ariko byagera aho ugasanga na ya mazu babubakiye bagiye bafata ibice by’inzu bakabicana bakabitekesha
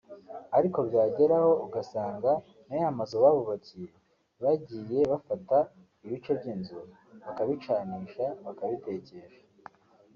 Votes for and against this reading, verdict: 1, 2, rejected